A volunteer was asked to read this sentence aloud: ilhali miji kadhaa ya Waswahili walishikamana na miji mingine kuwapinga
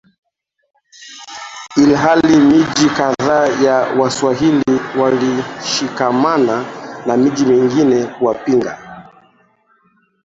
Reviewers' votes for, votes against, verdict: 0, 2, rejected